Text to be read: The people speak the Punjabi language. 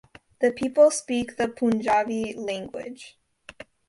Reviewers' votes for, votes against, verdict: 2, 0, accepted